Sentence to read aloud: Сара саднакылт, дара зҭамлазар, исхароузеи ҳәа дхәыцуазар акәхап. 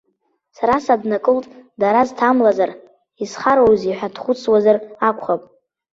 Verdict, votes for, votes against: accepted, 2, 1